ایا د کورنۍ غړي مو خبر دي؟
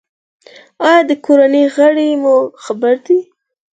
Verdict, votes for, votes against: accepted, 6, 0